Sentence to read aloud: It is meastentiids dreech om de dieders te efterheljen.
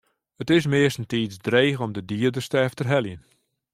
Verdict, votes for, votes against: accepted, 2, 0